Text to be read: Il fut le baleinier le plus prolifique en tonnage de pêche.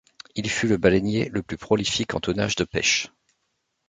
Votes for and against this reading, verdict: 2, 0, accepted